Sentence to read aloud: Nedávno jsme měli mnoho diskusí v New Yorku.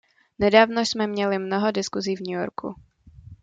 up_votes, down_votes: 2, 0